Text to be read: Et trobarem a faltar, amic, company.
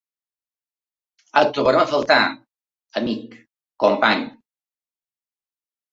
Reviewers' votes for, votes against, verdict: 2, 0, accepted